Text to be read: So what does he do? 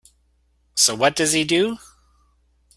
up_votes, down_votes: 2, 1